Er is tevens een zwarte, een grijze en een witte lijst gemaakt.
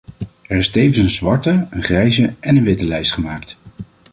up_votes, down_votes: 2, 0